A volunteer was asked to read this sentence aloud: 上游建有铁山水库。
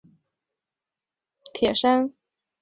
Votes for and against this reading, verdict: 0, 4, rejected